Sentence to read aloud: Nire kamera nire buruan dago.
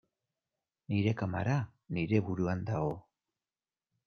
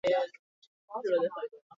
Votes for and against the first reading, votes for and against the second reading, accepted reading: 2, 0, 2, 10, first